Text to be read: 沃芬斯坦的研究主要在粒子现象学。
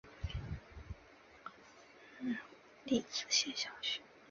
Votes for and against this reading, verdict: 2, 4, rejected